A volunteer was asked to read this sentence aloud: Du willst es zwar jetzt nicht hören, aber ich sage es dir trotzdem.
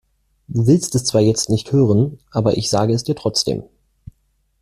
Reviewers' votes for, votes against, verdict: 2, 0, accepted